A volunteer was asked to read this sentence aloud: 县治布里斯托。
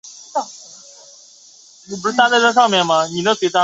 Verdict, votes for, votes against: rejected, 3, 4